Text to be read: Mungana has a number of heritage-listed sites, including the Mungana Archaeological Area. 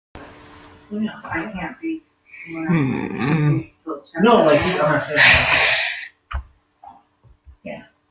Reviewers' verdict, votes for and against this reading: rejected, 0, 2